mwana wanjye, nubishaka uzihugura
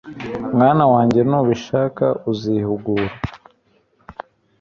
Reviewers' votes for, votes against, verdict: 2, 0, accepted